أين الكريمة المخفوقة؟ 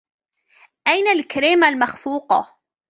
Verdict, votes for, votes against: accepted, 2, 0